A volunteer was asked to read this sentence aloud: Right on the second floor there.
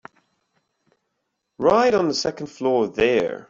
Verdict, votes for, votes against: accepted, 2, 0